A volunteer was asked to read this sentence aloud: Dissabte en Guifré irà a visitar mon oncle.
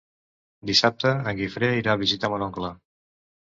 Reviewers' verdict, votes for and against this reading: accepted, 2, 0